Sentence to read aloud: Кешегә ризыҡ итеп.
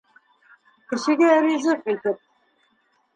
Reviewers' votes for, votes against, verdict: 2, 0, accepted